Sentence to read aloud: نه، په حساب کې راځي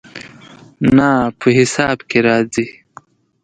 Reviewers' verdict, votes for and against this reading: accepted, 2, 0